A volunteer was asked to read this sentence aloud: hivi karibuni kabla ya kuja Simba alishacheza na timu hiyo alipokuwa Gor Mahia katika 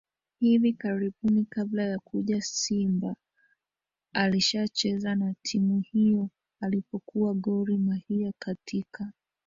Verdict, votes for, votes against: rejected, 0, 2